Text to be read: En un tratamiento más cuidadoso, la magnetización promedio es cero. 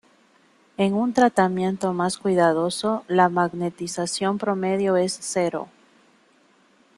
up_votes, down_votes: 2, 1